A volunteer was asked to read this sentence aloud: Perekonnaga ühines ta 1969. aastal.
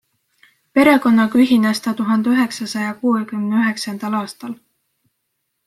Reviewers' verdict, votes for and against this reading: rejected, 0, 2